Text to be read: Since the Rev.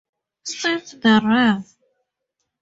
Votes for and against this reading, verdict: 2, 0, accepted